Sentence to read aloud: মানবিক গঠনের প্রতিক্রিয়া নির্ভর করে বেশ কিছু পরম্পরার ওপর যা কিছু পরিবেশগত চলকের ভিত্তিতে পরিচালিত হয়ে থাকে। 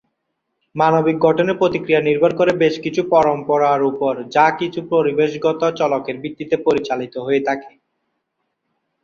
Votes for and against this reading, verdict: 2, 4, rejected